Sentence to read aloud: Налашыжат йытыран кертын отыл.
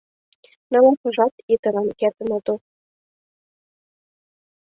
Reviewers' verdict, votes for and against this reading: rejected, 3, 4